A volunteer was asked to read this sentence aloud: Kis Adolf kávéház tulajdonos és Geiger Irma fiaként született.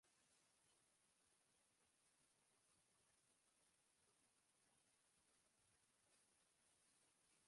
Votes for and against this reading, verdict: 0, 2, rejected